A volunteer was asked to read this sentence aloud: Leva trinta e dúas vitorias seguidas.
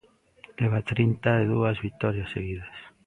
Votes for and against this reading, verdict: 2, 0, accepted